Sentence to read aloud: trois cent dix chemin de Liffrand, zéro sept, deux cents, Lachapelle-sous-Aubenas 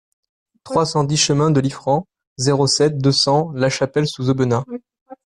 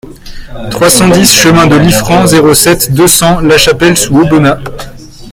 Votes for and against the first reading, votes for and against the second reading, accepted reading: 2, 0, 0, 2, first